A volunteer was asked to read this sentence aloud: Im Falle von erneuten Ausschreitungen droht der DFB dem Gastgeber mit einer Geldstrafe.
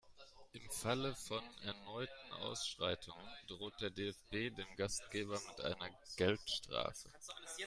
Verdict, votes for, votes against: rejected, 1, 2